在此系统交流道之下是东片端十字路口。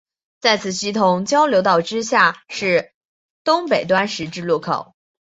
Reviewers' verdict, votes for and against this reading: rejected, 1, 2